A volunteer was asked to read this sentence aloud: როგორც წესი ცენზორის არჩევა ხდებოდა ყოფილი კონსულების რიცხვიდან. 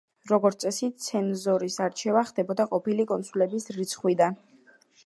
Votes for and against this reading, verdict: 1, 2, rejected